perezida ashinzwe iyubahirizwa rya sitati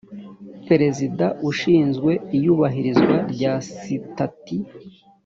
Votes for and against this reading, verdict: 0, 2, rejected